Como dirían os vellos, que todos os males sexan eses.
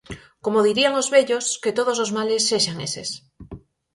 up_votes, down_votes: 4, 0